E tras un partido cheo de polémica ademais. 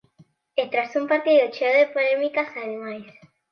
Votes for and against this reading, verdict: 0, 2, rejected